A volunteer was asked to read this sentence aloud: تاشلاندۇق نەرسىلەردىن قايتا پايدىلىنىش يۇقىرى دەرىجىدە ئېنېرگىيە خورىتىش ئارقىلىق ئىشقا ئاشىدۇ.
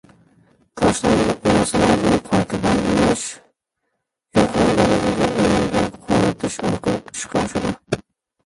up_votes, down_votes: 0, 2